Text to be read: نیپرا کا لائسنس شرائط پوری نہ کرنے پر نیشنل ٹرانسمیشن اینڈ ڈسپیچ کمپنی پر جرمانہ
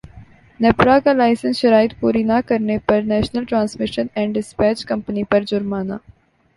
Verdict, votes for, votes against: accepted, 3, 1